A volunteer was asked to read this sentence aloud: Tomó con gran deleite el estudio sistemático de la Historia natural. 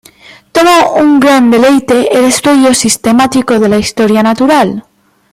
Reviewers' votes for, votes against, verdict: 1, 2, rejected